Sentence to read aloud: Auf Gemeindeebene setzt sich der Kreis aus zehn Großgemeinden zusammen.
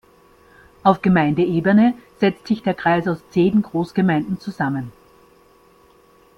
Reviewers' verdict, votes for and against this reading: accepted, 2, 0